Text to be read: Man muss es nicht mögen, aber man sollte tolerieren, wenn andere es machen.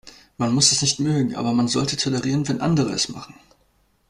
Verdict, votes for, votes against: accepted, 2, 0